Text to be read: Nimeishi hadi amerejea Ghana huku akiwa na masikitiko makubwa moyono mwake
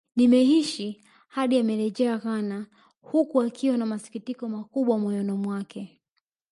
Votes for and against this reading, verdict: 2, 1, accepted